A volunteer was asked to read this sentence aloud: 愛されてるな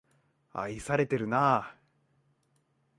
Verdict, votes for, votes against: accepted, 2, 0